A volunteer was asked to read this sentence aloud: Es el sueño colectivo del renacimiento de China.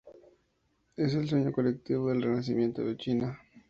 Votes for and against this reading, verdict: 2, 0, accepted